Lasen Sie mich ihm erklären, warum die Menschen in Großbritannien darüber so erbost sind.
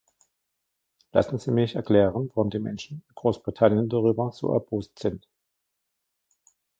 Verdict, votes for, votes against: rejected, 0, 2